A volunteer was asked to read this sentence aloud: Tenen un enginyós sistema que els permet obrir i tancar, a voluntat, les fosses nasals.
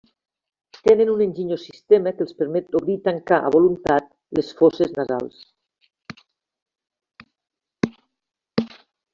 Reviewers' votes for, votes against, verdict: 2, 0, accepted